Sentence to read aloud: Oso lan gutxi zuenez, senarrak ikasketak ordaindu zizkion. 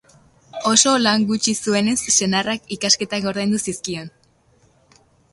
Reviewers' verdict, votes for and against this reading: accepted, 2, 0